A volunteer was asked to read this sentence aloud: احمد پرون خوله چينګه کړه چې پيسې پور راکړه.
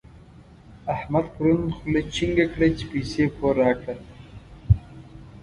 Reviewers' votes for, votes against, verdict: 1, 2, rejected